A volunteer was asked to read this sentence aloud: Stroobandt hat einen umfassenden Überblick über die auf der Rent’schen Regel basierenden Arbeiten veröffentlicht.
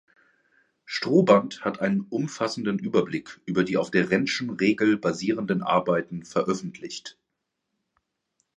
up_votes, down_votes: 3, 1